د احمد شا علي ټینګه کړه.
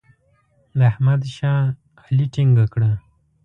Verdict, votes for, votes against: accepted, 2, 0